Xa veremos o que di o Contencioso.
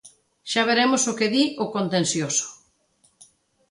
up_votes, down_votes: 2, 0